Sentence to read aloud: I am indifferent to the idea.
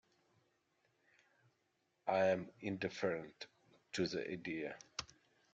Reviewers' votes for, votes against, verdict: 2, 1, accepted